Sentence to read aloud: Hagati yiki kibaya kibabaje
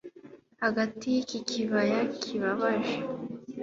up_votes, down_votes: 2, 0